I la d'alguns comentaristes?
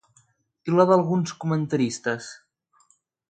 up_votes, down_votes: 2, 0